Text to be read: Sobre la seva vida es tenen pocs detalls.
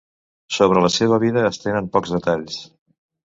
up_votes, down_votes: 2, 0